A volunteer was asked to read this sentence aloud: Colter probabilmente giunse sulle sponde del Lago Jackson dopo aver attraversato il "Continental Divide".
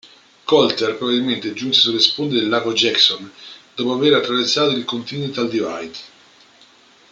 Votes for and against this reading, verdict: 0, 2, rejected